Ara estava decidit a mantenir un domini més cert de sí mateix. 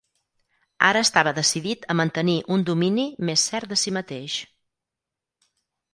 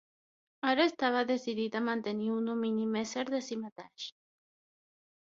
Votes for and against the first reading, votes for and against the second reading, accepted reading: 4, 0, 0, 6, first